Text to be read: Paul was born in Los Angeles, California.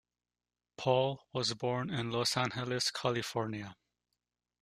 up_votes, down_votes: 2, 0